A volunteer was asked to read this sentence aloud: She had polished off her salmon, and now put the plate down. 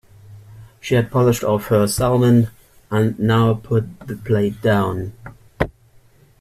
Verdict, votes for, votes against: accepted, 2, 0